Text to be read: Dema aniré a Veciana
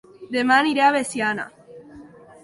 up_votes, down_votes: 2, 0